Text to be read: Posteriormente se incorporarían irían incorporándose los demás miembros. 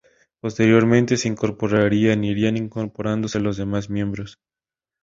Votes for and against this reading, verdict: 0, 2, rejected